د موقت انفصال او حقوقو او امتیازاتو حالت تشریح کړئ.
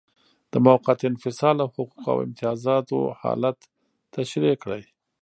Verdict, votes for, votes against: rejected, 1, 2